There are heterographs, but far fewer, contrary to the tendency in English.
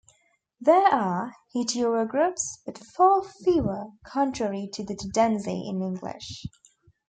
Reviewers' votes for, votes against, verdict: 2, 1, accepted